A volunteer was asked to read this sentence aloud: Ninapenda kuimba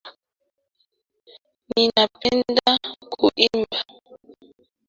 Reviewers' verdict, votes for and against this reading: rejected, 0, 2